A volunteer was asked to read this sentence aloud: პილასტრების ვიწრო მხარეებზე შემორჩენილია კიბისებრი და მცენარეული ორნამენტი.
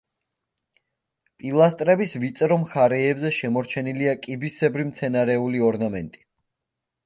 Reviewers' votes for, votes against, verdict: 0, 2, rejected